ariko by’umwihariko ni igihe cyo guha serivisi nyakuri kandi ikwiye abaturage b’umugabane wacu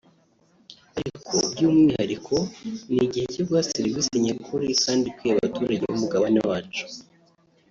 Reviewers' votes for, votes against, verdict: 1, 2, rejected